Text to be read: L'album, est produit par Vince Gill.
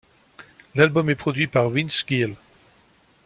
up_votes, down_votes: 2, 0